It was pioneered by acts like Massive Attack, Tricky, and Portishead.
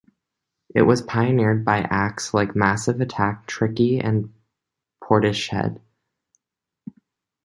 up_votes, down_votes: 1, 2